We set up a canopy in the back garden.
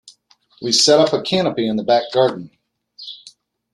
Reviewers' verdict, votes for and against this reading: accepted, 2, 0